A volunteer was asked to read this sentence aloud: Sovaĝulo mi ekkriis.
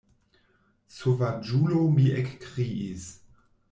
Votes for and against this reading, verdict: 1, 2, rejected